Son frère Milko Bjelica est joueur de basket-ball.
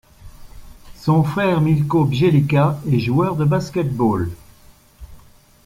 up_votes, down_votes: 2, 0